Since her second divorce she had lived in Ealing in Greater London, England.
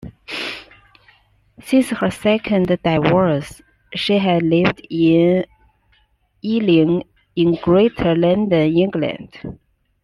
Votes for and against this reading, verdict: 2, 1, accepted